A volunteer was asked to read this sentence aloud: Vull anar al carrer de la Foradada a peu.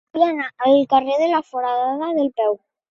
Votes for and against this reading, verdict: 2, 3, rejected